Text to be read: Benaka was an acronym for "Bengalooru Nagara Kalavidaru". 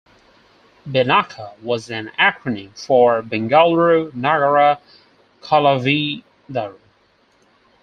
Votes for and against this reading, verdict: 0, 4, rejected